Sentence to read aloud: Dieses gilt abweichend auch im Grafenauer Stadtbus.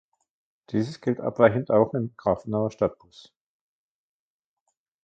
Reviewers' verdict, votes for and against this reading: rejected, 1, 2